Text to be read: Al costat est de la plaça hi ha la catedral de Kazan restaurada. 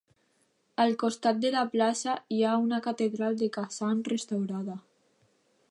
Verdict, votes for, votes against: rejected, 0, 2